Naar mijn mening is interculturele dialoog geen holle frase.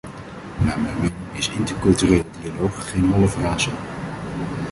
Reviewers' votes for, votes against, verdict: 0, 2, rejected